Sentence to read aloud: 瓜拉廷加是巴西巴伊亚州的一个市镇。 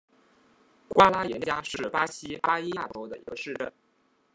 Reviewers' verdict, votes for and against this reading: rejected, 0, 2